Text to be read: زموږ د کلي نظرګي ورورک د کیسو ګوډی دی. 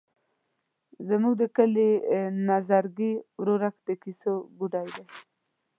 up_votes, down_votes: 1, 2